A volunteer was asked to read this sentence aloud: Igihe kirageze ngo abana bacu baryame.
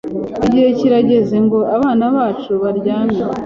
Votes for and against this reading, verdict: 3, 0, accepted